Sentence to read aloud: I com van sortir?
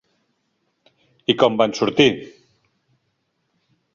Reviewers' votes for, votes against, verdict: 3, 0, accepted